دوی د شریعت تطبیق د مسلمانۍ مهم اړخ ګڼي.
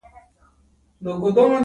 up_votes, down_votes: 0, 2